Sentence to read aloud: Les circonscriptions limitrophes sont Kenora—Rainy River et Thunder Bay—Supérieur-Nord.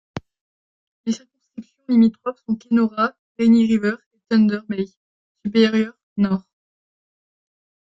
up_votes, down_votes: 0, 2